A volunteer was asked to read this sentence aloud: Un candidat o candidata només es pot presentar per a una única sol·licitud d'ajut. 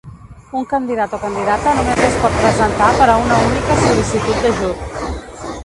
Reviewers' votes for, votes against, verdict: 1, 3, rejected